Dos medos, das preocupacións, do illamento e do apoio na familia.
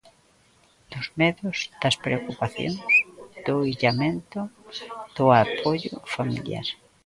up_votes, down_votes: 0, 2